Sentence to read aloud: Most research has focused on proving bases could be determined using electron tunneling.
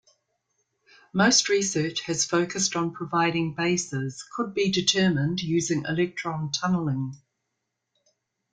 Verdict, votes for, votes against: rejected, 0, 2